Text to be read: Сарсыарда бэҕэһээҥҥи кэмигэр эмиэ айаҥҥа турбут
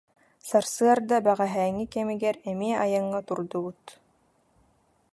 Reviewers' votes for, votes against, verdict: 0, 2, rejected